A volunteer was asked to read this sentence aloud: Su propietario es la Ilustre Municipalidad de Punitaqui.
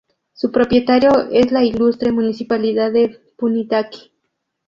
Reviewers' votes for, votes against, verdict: 0, 2, rejected